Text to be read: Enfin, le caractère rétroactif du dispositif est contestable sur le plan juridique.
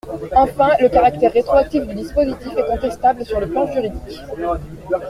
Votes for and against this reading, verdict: 2, 0, accepted